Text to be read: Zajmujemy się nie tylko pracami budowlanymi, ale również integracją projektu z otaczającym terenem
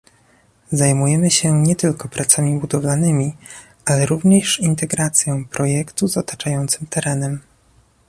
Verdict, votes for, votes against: accepted, 2, 0